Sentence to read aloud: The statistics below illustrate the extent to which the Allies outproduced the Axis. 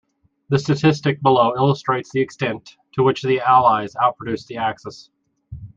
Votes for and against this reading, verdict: 1, 2, rejected